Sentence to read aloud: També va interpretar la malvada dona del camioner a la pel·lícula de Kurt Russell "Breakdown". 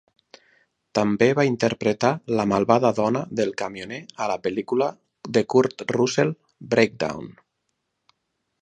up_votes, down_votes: 4, 0